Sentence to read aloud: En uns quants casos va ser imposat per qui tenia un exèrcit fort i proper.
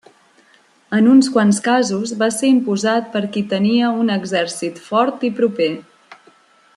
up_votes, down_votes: 3, 0